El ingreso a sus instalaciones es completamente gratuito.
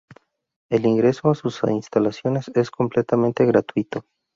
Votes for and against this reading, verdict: 2, 0, accepted